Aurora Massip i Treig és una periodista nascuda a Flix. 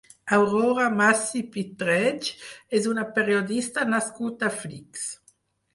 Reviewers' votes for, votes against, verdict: 0, 4, rejected